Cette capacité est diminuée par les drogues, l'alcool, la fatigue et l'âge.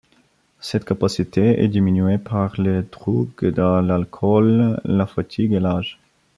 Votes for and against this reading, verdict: 2, 0, accepted